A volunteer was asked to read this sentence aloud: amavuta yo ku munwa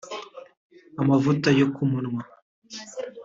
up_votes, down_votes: 2, 0